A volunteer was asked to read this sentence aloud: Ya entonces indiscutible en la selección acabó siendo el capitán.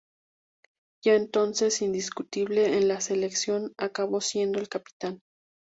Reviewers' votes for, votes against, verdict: 2, 0, accepted